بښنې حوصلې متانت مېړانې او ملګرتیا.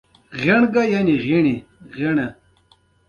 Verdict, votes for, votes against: rejected, 1, 2